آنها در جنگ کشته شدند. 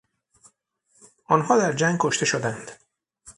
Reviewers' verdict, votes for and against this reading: accepted, 6, 0